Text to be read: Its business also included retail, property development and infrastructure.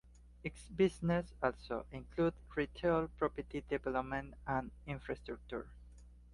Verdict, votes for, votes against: accepted, 2, 1